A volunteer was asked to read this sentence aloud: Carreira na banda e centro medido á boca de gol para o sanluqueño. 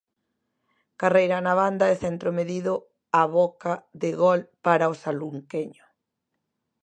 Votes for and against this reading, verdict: 0, 2, rejected